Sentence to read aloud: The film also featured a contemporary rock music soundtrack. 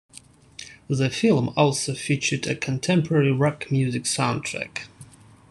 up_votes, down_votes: 2, 0